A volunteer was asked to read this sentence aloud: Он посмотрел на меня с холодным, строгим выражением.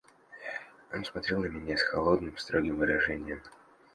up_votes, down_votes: 1, 2